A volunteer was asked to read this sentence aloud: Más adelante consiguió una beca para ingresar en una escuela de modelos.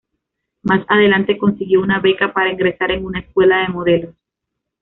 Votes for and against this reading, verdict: 2, 0, accepted